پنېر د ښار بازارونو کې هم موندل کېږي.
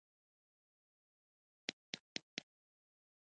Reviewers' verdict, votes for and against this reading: rejected, 1, 2